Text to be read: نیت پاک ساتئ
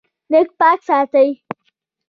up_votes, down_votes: 2, 0